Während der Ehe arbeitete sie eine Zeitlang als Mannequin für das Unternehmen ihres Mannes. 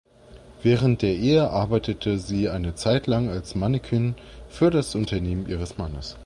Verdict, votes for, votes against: accepted, 2, 0